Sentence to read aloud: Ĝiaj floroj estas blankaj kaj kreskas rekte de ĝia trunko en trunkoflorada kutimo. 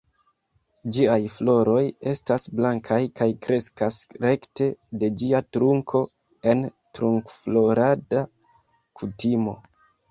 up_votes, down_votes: 1, 2